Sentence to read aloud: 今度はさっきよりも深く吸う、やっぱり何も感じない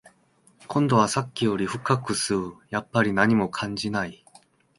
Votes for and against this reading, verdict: 2, 0, accepted